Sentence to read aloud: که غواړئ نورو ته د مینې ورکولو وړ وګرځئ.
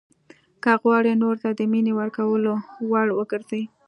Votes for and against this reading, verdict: 2, 0, accepted